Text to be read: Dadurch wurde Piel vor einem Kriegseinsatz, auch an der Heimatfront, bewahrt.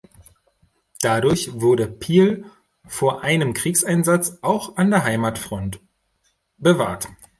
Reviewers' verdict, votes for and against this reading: accepted, 2, 0